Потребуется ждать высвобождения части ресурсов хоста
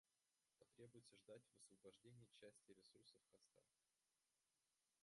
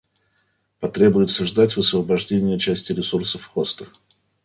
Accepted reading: second